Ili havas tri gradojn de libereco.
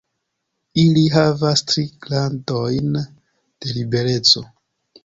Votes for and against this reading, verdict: 1, 2, rejected